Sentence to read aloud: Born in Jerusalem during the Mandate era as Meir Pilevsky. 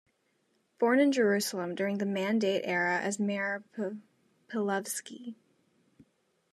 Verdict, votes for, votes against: rejected, 1, 2